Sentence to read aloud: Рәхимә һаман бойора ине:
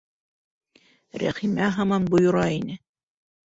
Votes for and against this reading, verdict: 2, 0, accepted